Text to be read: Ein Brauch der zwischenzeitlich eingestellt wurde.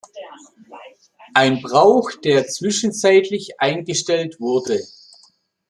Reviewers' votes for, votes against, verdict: 2, 0, accepted